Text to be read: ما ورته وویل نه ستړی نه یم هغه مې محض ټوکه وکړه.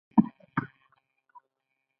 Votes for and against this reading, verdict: 0, 2, rejected